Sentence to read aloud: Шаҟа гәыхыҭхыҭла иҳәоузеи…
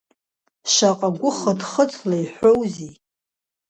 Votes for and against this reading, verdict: 2, 0, accepted